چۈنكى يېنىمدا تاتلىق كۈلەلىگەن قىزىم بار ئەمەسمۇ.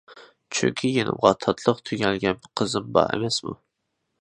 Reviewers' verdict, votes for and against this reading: rejected, 0, 2